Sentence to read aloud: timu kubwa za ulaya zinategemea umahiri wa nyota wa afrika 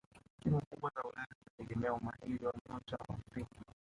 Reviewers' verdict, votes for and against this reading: rejected, 1, 2